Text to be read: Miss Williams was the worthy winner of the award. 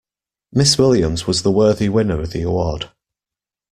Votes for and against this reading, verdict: 2, 0, accepted